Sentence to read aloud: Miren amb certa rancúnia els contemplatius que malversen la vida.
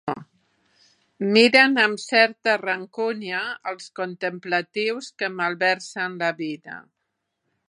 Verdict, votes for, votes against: accepted, 3, 0